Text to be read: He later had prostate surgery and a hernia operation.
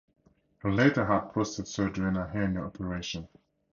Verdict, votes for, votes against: rejected, 0, 2